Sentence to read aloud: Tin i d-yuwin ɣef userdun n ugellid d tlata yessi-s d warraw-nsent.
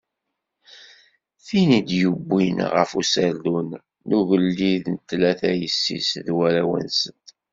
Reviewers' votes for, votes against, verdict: 2, 0, accepted